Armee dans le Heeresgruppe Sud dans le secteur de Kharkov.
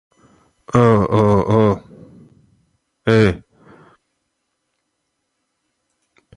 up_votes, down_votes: 0, 2